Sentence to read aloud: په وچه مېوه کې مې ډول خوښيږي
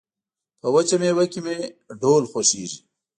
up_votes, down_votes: 0, 2